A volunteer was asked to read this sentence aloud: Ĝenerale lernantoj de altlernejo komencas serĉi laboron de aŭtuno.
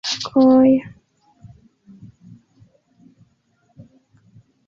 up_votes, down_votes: 2, 0